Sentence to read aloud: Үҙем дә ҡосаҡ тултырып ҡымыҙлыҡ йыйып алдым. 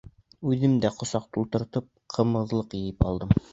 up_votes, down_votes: 2, 3